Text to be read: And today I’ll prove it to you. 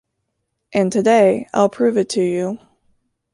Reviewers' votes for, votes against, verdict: 2, 0, accepted